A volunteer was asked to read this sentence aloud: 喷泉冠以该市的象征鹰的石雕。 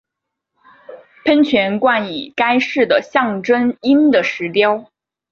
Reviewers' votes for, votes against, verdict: 6, 0, accepted